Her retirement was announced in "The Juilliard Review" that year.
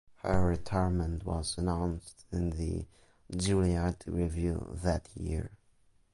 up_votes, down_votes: 0, 2